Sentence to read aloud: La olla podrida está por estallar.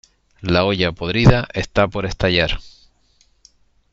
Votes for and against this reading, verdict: 2, 0, accepted